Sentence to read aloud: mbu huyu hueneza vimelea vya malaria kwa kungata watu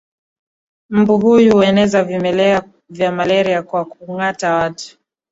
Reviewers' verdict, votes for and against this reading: accepted, 2, 0